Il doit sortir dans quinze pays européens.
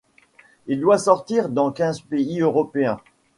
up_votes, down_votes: 2, 0